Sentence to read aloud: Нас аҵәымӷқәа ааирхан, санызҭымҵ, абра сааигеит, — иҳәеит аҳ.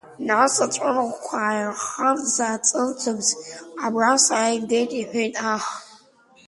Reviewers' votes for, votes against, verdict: 0, 2, rejected